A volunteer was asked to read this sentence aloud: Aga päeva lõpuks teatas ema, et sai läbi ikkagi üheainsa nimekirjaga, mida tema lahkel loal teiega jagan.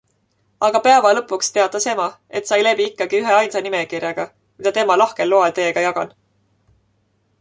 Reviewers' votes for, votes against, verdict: 2, 0, accepted